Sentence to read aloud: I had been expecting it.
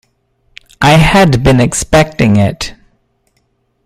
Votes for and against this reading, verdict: 2, 0, accepted